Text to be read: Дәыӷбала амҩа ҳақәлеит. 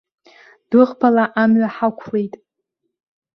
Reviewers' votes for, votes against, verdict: 2, 0, accepted